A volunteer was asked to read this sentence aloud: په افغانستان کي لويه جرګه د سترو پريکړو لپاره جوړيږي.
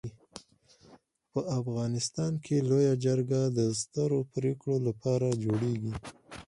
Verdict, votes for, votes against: accepted, 4, 0